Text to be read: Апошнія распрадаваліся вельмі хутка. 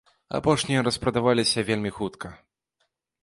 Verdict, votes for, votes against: accepted, 2, 0